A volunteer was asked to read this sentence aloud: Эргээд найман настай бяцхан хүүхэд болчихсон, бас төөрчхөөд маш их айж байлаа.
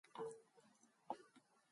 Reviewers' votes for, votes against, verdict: 0, 2, rejected